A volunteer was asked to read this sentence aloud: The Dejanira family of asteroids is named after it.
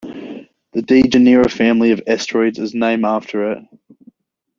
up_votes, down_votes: 2, 0